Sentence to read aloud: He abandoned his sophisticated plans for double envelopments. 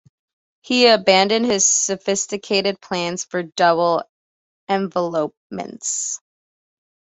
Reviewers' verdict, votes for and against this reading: accepted, 2, 0